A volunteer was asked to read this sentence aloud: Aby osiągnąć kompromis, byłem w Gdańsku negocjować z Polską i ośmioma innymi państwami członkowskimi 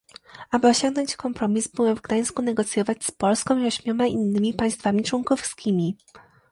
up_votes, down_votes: 2, 0